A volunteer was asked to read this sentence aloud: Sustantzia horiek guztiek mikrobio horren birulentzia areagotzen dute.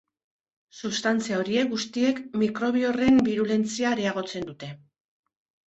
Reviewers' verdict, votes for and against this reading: accepted, 2, 0